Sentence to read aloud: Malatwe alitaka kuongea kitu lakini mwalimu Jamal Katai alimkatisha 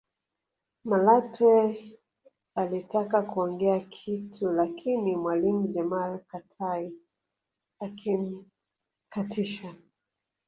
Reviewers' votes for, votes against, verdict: 2, 3, rejected